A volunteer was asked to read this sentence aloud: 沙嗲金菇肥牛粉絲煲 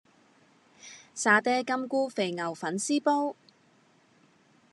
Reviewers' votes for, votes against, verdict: 2, 0, accepted